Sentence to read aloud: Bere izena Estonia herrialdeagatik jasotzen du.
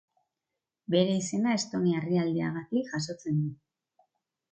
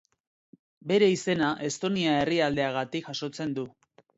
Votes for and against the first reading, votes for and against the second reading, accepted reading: 2, 0, 2, 2, first